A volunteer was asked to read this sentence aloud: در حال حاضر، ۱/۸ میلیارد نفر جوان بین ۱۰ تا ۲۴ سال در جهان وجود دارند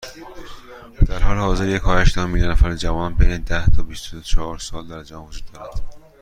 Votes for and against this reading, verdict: 0, 2, rejected